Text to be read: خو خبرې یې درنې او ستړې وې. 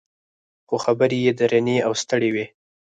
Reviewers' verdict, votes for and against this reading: rejected, 0, 4